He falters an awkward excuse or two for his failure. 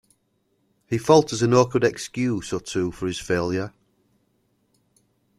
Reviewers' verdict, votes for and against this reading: accepted, 2, 0